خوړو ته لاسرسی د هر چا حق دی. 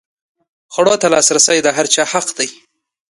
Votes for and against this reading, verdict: 2, 0, accepted